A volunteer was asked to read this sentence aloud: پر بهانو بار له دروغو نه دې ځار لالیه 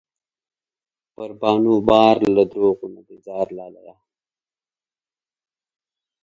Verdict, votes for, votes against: accepted, 2, 0